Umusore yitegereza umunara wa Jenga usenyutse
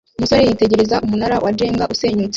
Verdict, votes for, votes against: rejected, 1, 2